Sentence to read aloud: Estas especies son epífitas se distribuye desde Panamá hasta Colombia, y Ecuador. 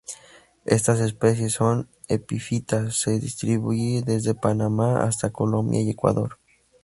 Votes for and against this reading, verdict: 0, 2, rejected